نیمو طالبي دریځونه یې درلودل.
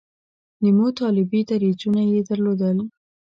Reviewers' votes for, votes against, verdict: 2, 0, accepted